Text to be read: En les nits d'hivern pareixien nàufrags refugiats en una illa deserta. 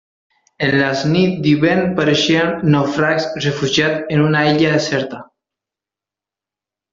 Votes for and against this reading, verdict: 0, 2, rejected